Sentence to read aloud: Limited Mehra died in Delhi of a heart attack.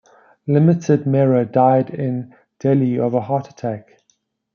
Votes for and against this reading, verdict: 2, 0, accepted